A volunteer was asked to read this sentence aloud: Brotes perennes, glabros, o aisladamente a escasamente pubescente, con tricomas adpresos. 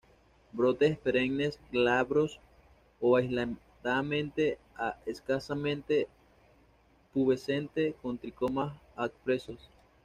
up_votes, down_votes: 1, 2